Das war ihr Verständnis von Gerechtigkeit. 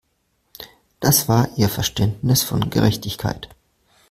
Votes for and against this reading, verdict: 2, 0, accepted